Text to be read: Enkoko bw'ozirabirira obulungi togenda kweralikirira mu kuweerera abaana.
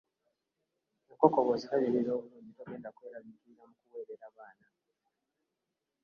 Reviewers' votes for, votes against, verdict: 1, 2, rejected